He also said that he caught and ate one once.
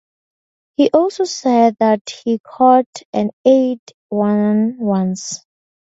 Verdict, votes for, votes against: accepted, 2, 0